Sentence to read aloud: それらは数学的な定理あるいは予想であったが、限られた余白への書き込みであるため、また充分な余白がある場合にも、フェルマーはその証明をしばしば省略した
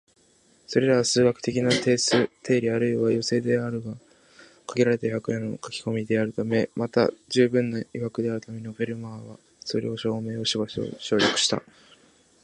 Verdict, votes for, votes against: rejected, 1, 2